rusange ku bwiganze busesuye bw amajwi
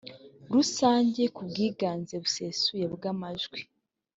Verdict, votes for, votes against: accepted, 2, 0